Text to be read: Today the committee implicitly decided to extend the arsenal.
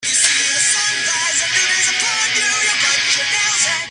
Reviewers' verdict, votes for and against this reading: rejected, 0, 2